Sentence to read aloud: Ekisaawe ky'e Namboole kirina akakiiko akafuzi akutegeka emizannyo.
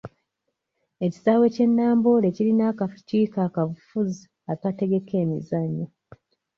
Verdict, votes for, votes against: rejected, 0, 2